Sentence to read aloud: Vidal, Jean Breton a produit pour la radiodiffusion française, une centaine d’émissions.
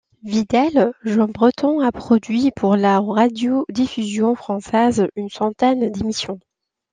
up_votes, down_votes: 0, 2